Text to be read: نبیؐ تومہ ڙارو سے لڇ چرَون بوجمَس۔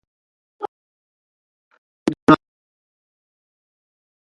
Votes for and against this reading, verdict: 0, 2, rejected